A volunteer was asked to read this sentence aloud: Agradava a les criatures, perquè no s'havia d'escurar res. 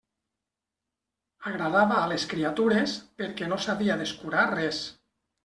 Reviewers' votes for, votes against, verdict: 2, 0, accepted